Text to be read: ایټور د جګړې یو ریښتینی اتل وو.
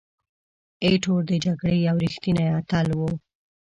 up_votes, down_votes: 0, 2